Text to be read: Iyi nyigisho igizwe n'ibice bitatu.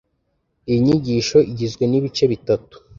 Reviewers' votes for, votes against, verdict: 2, 0, accepted